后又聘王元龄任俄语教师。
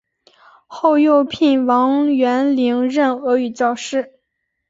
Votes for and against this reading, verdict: 3, 1, accepted